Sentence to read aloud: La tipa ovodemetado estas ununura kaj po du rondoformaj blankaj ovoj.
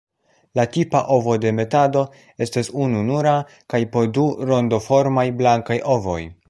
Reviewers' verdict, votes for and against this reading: accepted, 2, 0